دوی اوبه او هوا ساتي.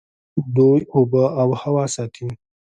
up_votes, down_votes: 1, 2